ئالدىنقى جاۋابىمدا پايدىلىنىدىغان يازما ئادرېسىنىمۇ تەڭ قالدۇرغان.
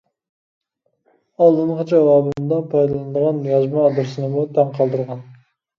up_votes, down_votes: 1, 2